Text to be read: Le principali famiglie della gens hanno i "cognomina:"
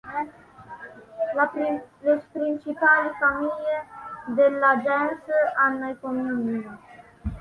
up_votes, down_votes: 1, 3